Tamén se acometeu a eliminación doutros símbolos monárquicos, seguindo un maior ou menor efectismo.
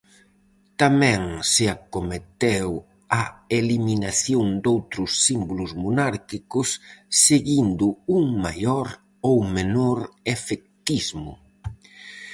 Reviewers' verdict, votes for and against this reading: accepted, 4, 0